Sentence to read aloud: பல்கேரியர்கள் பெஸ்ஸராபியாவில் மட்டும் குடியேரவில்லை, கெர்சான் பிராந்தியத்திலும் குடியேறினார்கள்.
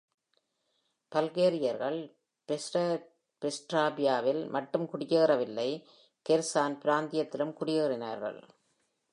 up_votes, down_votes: 1, 2